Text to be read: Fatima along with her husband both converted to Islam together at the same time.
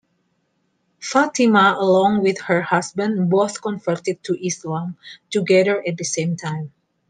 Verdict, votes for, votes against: accepted, 2, 1